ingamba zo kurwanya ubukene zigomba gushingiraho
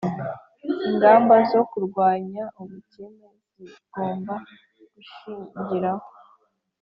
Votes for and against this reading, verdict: 4, 0, accepted